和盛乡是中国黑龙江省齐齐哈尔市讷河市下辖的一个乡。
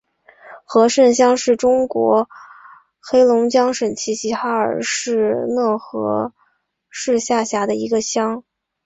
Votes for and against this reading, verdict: 3, 1, accepted